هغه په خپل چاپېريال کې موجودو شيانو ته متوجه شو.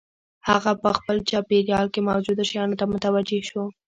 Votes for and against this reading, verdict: 0, 2, rejected